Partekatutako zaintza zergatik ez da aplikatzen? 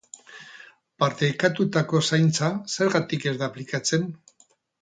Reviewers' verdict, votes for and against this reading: rejected, 0, 2